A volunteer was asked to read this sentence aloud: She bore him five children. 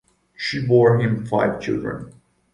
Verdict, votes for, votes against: accepted, 2, 0